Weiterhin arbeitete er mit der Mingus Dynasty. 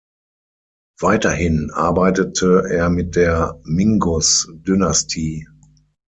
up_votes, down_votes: 3, 6